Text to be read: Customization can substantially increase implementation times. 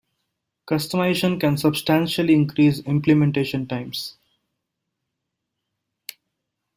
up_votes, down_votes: 1, 2